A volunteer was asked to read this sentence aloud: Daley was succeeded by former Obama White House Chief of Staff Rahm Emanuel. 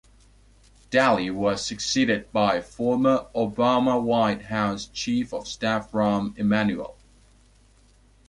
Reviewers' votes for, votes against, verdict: 2, 0, accepted